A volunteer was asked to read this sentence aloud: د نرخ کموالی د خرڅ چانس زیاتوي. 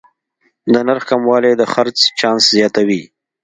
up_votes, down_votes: 2, 0